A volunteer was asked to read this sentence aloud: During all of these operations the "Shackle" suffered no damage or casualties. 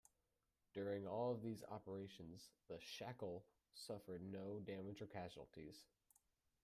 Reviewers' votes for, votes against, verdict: 2, 1, accepted